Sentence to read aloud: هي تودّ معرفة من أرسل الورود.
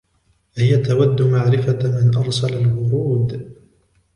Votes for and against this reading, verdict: 2, 1, accepted